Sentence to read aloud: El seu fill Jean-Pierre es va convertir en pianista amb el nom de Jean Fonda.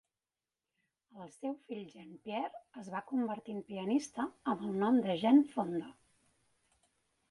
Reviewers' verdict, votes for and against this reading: rejected, 0, 2